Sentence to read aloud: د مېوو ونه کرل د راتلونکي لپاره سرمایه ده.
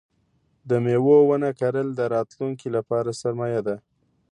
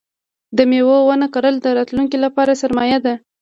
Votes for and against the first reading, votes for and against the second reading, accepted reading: 2, 0, 1, 2, first